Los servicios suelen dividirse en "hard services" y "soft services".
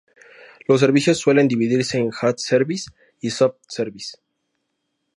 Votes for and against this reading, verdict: 4, 0, accepted